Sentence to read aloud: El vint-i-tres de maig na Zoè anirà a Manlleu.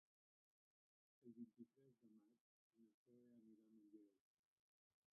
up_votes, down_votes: 0, 2